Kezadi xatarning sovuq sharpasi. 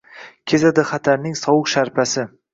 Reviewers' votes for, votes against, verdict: 2, 0, accepted